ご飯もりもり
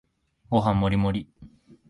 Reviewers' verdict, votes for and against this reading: accepted, 3, 0